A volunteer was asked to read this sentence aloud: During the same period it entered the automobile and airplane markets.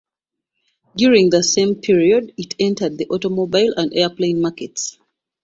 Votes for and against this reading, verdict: 2, 0, accepted